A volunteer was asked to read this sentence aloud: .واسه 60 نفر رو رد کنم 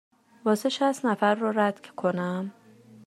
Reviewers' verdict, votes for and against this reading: rejected, 0, 2